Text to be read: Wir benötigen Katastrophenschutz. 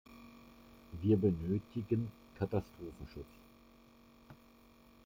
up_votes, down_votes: 2, 0